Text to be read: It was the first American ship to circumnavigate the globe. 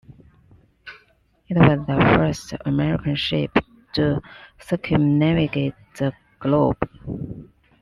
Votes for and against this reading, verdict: 2, 1, accepted